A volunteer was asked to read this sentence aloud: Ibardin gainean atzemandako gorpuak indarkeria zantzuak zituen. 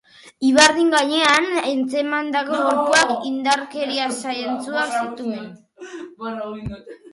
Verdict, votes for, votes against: rejected, 0, 2